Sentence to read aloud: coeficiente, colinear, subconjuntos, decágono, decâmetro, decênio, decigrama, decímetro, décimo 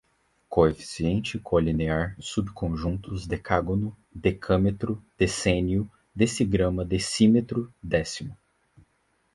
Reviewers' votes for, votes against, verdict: 4, 0, accepted